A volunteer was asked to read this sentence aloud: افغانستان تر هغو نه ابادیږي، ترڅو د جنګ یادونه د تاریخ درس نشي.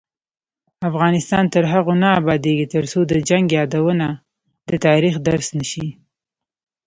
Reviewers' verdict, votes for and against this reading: rejected, 0, 2